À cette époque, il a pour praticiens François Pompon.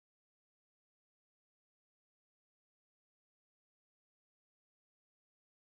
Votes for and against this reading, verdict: 0, 2, rejected